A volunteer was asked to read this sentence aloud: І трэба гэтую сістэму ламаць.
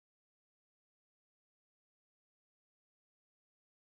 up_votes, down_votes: 0, 2